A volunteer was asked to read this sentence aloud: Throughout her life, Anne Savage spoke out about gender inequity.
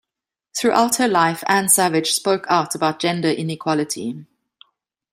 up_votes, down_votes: 1, 2